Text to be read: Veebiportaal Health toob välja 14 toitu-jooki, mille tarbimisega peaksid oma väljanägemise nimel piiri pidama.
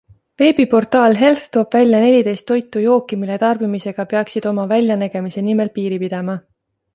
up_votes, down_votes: 0, 2